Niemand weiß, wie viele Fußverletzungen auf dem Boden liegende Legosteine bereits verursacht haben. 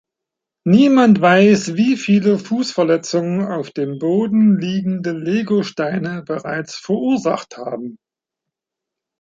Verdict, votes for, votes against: accepted, 3, 1